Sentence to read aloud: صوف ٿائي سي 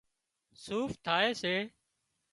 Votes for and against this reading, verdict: 2, 0, accepted